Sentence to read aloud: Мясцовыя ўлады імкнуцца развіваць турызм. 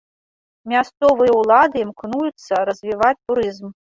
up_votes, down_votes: 0, 2